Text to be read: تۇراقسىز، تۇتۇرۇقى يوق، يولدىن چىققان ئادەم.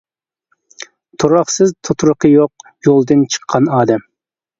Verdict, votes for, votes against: accepted, 2, 0